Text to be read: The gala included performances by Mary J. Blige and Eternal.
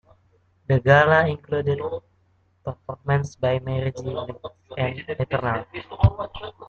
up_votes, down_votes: 0, 2